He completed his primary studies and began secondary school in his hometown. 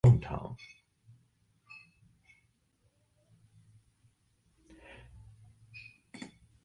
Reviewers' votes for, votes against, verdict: 0, 2, rejected